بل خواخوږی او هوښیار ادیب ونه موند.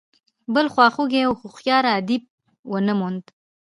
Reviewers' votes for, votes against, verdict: 2, 1, accepted